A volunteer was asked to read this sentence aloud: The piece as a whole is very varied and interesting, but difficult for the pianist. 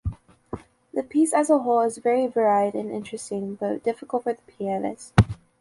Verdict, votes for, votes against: accepted, 2, 0